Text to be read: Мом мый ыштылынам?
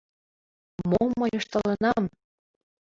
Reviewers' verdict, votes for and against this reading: accepted, 2, 1